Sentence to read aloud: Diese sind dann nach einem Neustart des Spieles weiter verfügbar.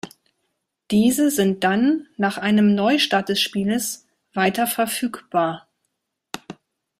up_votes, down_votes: 1, 2